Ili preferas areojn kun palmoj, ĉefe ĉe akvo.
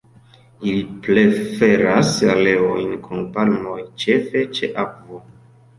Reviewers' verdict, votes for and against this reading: rejected, 1, 2